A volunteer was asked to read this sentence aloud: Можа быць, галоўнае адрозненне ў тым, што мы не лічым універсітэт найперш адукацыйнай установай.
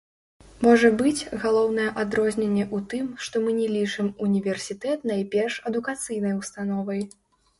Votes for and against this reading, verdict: 1, 2, rejected